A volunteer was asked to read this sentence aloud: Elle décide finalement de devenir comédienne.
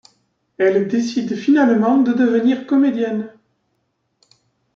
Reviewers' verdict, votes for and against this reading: accepted, 2, 0